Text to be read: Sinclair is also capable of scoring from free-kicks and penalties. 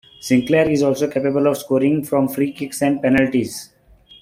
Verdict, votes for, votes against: accepted, 2, 1